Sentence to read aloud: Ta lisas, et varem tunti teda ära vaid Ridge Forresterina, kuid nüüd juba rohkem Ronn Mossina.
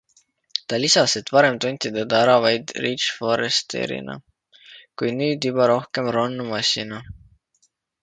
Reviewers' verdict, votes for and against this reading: accepted, 2, 0